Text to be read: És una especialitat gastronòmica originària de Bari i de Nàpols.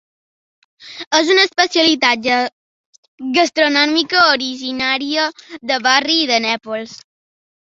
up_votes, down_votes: 0, 2